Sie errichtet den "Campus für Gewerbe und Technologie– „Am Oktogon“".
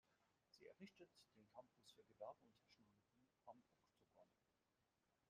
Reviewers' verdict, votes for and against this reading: rejected, 0, 2